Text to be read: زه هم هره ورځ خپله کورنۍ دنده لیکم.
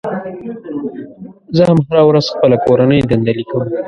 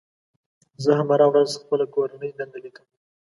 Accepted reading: second